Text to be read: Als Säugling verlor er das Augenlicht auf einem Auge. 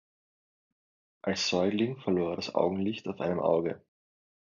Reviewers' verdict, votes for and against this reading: accepted, 2, 1